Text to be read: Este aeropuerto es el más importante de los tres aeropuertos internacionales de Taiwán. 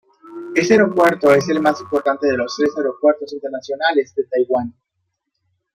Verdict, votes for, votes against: rejected, 1, 2